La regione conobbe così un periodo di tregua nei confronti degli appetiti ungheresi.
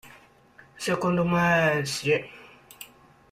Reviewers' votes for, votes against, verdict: 1, 2, rejected